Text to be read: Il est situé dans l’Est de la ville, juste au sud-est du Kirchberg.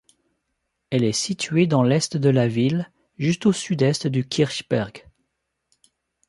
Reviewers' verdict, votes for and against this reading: rejected, 0, 2